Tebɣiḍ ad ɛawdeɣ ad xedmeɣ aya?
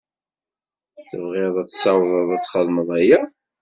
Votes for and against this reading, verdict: 1, 2, rejected